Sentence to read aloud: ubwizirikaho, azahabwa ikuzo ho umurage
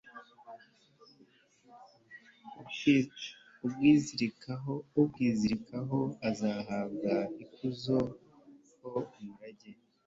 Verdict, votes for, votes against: rejected, 0, 2